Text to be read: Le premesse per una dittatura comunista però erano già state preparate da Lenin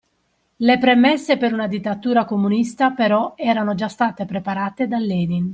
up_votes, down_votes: 2, 0